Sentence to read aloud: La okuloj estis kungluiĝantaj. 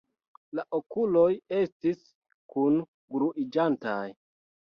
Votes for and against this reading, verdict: 0, 2, rejected